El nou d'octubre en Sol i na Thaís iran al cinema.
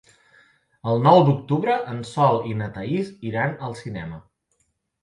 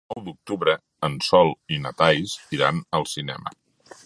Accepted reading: first